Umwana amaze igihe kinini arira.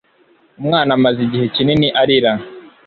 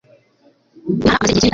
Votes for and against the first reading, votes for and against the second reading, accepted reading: 2, 0, 1, 2, first